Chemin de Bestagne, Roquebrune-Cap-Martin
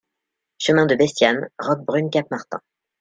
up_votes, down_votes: 0, 2